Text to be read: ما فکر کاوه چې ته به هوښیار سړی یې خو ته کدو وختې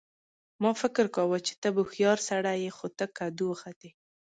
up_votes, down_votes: 2, 0